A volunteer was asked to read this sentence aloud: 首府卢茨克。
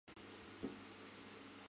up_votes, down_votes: 0, 2